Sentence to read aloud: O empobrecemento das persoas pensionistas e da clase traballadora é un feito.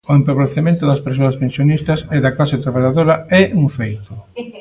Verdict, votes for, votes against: accepted, 2, 0